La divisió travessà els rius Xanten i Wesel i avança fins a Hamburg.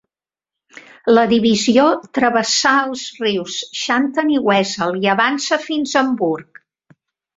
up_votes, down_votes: 4, 0